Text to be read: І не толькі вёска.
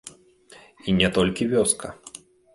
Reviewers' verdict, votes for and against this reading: accepted, 2, 0